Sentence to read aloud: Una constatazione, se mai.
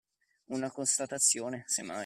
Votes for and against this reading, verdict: 2, 1, accepted